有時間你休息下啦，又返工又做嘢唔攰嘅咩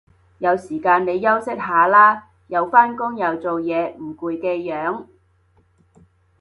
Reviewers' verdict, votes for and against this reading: rejected, 0, 2